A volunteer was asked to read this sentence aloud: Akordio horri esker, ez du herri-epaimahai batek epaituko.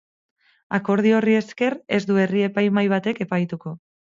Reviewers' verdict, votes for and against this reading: accepted, 4, 0